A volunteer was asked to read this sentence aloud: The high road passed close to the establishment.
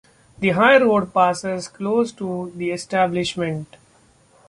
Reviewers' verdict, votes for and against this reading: rejected, 0, 2